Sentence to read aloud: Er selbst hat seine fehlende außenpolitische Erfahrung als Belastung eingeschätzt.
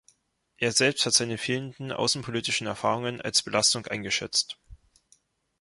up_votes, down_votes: 1, 3